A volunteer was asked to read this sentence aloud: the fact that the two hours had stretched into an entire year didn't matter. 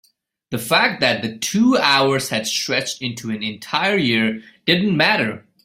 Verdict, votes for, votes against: accepted, 2, 1